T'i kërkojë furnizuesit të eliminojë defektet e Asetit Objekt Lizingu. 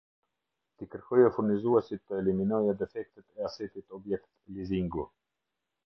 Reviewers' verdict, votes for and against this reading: accepted, 2, 0